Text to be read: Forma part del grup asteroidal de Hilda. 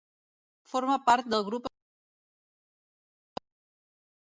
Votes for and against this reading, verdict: 0, 2, rejected